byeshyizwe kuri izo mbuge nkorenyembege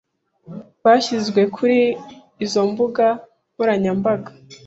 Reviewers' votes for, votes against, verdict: 0, 2, rejected